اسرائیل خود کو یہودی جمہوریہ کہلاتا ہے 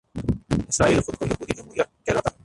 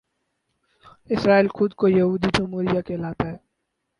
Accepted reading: second